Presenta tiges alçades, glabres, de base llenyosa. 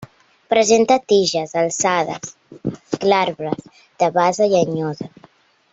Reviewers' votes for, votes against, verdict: 2, 1, accepted